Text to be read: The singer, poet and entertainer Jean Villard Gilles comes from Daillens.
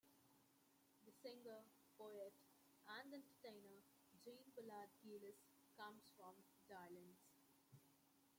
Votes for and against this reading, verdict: 2, 1, accepted